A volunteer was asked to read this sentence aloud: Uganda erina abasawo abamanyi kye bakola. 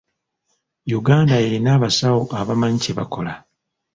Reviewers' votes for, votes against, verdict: 1, 2, rejected